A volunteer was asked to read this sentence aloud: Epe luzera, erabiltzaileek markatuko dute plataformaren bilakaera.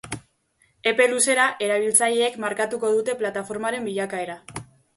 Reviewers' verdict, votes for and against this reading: accepted, 3, 0